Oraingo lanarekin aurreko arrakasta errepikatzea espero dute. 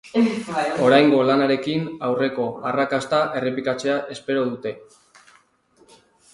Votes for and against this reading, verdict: 2, 2, rejected